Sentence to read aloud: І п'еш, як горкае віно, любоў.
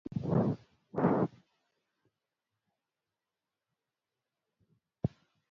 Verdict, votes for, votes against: rejected, 0, 2